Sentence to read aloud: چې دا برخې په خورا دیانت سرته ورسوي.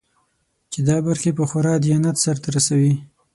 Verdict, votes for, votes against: accepted, 6, 3